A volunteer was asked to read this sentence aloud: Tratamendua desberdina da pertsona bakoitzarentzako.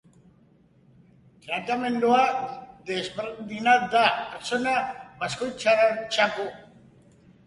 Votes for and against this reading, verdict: 0, 2, rejected